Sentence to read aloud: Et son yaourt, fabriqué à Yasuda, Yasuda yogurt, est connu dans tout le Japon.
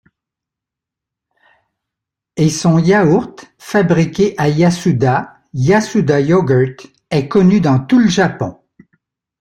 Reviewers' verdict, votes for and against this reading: accepted, 2, 1